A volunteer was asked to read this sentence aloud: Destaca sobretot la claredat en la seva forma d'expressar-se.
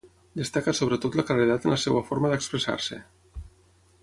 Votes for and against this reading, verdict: 6, 0, accepted